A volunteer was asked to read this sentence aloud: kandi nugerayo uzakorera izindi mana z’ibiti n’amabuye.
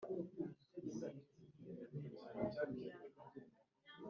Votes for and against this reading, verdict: 0, 3, rejected